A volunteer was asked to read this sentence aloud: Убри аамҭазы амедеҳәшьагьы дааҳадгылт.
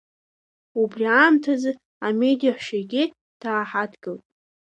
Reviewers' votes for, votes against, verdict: 2, 0, accepted